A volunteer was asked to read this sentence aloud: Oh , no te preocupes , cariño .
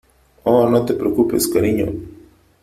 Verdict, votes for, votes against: accepted, 3, 0